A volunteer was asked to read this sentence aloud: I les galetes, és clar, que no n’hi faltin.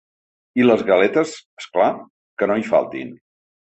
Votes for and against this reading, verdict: 0, 2, rejected